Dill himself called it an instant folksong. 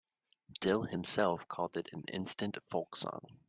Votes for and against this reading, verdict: 2, 0, accepted